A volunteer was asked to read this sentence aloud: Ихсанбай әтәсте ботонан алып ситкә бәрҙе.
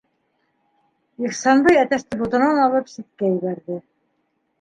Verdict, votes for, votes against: rejected, 1, 2